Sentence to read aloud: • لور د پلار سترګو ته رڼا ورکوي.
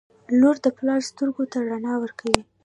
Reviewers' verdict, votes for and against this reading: rejected, 0, 2